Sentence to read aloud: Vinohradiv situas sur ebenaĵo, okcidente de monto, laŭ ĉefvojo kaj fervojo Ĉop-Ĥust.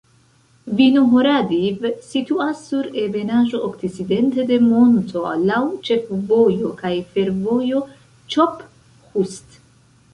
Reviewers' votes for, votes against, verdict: 0, 2, rejected